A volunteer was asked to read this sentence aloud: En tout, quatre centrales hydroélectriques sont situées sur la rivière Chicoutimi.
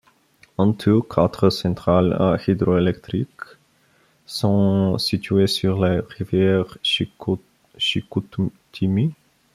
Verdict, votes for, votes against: rejected, 0, 2